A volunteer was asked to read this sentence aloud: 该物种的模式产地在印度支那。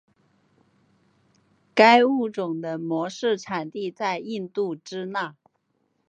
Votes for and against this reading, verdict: 4, 0, accepted